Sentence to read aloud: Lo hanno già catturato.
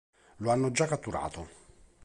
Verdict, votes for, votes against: accepted, 3, 0